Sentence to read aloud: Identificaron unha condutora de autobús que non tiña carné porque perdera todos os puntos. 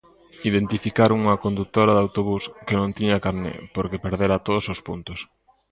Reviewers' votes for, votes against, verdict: 2, 0, accepted